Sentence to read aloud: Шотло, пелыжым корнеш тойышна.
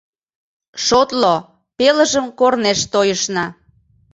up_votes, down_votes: 2, 0